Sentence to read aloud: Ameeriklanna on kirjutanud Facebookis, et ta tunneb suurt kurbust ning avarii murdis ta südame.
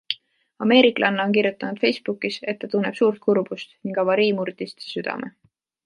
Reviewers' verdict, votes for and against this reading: accepted, 2, 0